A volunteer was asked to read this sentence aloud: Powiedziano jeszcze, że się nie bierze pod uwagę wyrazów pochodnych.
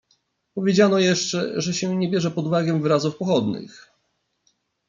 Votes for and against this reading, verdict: 2, 0, accepted